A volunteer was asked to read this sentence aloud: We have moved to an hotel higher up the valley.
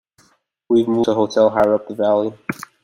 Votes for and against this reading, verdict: 2, 0, accepted